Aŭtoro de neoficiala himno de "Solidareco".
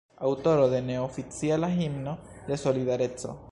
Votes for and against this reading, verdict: 1, 2, rejected